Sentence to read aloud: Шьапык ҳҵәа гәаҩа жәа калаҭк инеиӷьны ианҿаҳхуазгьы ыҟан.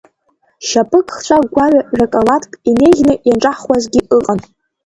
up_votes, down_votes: 0, 2